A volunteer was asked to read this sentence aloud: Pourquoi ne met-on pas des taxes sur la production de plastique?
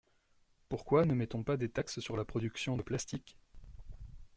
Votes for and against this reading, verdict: 2, 0, accepted